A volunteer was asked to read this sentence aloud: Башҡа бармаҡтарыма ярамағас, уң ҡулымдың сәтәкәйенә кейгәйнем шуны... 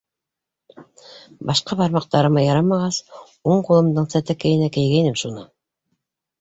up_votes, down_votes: 2, 0